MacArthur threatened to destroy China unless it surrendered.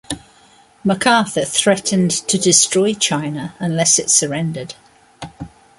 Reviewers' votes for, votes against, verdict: 2, 0, accepted